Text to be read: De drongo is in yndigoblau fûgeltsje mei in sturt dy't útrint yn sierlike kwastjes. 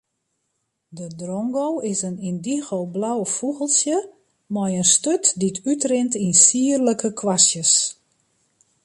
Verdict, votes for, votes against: accepted, 2, 0